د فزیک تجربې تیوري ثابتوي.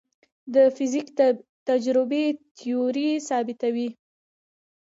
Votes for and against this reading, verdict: 0, 2, rejected